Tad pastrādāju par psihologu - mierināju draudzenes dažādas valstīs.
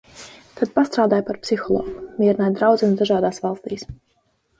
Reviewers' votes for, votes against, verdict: 0, 2, rejected